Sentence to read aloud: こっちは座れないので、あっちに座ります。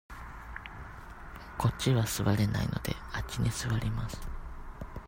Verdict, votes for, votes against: accepted, 2, 0